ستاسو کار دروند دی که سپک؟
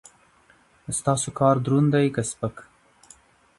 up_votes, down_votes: 2, 0